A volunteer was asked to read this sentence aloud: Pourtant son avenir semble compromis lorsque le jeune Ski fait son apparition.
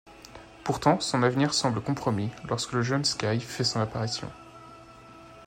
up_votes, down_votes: 1, 2